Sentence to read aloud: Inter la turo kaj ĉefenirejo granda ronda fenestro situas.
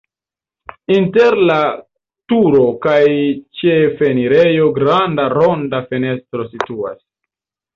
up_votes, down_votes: 1, 2